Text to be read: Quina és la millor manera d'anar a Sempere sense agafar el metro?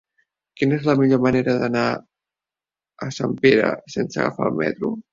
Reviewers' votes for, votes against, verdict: 1, 2, rejected